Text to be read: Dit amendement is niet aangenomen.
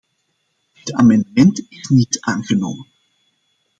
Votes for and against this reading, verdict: 1, 2, rejected